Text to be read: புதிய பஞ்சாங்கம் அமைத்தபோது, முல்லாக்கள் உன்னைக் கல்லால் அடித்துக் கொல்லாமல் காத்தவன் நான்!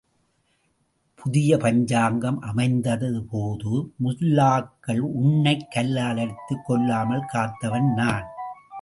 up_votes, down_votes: 0, 2